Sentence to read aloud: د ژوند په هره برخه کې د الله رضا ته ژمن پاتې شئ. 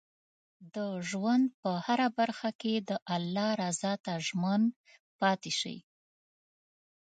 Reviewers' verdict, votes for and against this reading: accepted, 3, 0